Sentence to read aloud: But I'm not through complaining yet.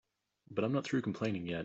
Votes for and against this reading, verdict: 2, 0, accepted